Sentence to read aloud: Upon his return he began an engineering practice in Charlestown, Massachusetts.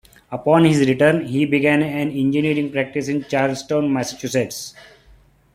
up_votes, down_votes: 1, 2